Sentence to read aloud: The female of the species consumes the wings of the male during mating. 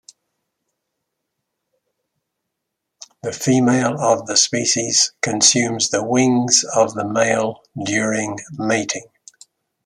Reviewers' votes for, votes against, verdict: 2, 0, accepted